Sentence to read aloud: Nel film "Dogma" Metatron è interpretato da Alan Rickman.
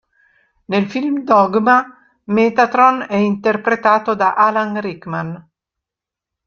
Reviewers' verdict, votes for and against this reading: accepted, 2, 0